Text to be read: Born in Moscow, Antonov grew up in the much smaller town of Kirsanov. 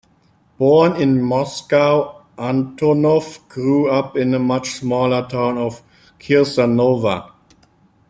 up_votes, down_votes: 2, 0